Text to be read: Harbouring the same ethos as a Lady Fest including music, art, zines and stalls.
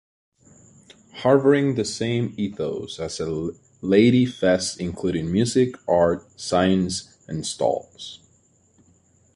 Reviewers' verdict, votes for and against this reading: rejected, 0, 2